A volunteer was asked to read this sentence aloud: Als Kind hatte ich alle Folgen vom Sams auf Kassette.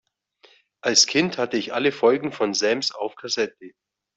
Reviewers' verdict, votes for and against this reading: rejected, 1, 2